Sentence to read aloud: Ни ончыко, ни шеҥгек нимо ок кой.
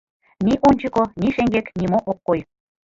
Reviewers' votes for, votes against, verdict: 1, 2, rejected